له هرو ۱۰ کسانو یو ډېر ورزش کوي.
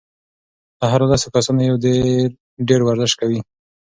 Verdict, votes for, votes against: rejected, 0, 2